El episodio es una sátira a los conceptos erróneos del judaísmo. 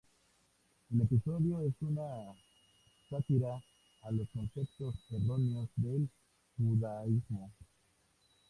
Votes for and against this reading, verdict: 0, 2, rejected